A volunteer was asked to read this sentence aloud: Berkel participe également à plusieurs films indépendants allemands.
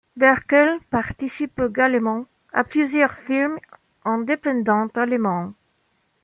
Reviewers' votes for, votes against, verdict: 2, 0, accepted